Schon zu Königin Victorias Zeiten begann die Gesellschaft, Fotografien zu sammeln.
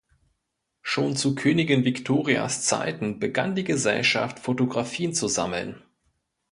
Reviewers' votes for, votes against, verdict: 2, 0, accepted